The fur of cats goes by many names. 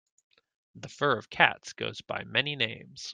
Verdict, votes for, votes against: accepted, 2, 0